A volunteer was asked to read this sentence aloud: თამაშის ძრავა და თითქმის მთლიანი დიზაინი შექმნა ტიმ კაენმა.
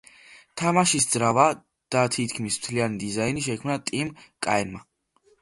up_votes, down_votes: 2, 0